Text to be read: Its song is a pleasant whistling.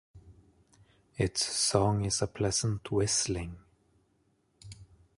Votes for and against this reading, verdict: 1, 2, rejected